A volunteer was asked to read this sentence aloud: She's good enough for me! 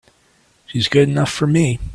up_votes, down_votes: 2, 1